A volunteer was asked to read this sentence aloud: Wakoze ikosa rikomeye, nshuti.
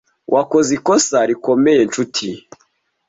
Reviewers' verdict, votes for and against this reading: accepted, 3, 0